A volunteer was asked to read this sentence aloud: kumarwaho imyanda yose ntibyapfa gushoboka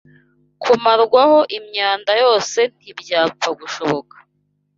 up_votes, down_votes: 2, 0